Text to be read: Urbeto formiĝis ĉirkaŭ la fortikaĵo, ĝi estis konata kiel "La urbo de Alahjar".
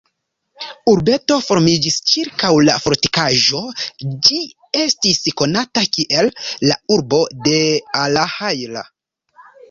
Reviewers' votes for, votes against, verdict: 1, 2, rejected